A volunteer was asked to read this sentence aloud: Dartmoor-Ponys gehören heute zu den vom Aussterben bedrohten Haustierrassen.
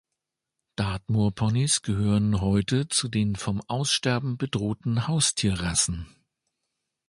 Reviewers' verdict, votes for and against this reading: accepted, 2, 0